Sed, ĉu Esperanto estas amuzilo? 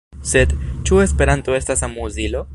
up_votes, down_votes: 2, 0